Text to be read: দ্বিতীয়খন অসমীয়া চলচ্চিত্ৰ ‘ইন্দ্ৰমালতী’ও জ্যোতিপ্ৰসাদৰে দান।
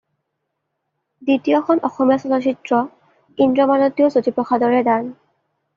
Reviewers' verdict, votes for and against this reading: accepted, 2, 0